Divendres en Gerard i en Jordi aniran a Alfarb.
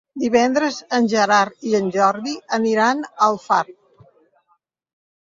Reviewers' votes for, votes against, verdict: 3, 0, accepted